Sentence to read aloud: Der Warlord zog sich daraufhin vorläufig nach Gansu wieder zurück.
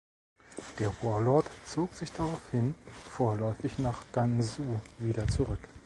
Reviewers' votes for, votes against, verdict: 2, 0, accepted